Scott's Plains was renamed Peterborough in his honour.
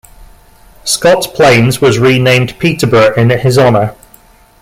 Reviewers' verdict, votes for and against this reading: rejected, 0, 2